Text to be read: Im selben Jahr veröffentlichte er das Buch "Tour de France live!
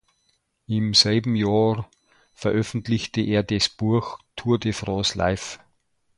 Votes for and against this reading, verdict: 2, 0, accepted